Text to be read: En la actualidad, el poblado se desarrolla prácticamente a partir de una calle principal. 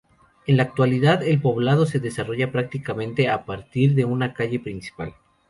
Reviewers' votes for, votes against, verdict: 2, 0, accepted